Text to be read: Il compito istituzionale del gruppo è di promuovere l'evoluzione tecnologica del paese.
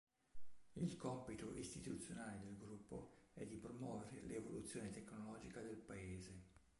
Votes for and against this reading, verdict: 2, 3, rejected